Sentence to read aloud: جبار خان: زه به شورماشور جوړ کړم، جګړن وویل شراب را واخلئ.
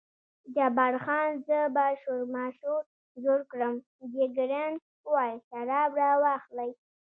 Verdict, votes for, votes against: rejected, 0, 2